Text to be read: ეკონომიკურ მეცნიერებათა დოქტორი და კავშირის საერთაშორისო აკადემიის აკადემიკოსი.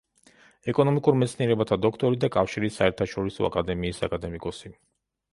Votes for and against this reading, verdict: 2, 0, accepted